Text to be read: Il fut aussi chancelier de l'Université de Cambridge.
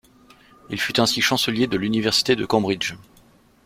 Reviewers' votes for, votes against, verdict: 1, 2, rejected